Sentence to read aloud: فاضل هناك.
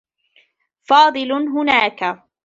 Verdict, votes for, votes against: rejected, 1, 2